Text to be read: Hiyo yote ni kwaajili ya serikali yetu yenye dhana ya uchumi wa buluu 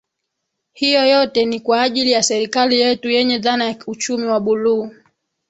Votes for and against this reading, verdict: 2, 3, rejected